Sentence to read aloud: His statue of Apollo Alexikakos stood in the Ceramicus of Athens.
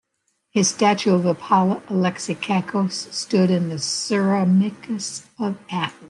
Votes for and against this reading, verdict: 1, 2, rejected